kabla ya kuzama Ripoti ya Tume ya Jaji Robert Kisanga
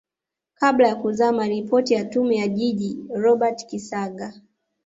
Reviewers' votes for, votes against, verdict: 1, 2, rejected